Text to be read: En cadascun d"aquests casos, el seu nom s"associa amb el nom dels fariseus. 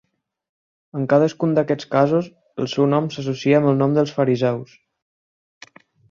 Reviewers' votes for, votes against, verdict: 4, 0, accepted